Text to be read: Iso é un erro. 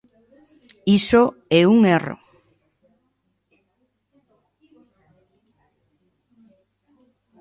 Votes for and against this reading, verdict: 2, 0, accepted